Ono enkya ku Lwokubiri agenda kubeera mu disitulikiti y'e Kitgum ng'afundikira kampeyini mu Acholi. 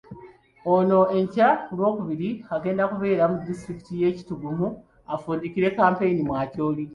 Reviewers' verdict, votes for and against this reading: accepted, 3, 0